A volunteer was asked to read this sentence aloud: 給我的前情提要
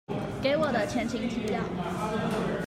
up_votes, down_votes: 2, 0